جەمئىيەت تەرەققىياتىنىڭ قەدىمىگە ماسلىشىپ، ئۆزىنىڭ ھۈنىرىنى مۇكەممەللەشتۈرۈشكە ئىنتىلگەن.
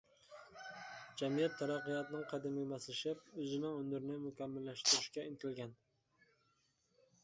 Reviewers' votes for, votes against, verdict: 0, 2, rejected